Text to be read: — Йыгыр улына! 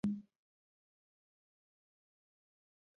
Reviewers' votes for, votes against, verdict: 0, 2, rejected